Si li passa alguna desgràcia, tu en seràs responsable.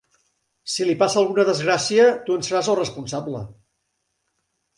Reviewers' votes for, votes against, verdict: 0, 2, rejected